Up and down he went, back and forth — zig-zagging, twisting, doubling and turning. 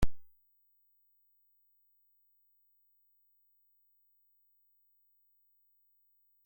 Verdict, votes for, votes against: rejected, 0, 2